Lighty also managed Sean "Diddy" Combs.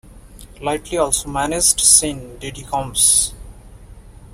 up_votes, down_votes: 0, 2